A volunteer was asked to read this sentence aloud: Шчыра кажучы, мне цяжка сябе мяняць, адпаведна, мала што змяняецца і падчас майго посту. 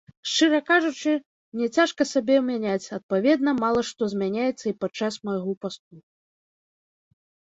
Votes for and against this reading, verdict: 1, 2, rejected